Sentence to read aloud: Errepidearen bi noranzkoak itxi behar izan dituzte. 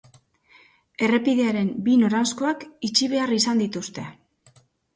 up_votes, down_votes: 2, 0